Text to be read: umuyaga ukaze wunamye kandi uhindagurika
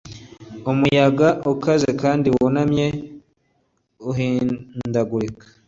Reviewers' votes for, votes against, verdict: 1, 2, rejected